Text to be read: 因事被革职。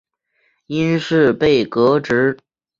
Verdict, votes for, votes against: accepted, 2, 0